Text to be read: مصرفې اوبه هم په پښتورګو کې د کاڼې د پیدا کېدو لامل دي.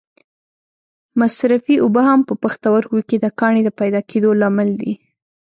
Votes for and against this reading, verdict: 2, 0, accepted